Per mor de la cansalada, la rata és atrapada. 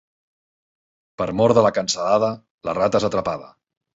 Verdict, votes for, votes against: accepted, 2, 0